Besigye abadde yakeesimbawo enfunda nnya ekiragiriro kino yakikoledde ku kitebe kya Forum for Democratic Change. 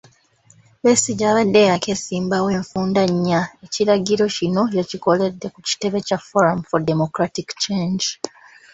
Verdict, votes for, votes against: accepted, 2, 0